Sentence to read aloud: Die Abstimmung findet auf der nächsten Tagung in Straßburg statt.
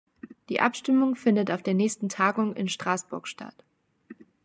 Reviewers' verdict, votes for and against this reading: accepted, 2, 0